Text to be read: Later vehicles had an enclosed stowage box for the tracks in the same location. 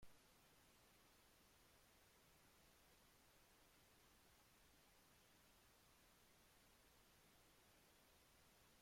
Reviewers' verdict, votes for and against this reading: rejected, 0, 2